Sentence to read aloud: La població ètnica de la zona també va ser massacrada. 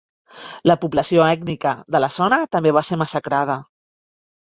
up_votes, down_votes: 2, 0